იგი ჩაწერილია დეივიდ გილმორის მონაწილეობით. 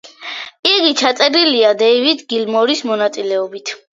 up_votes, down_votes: 2, 0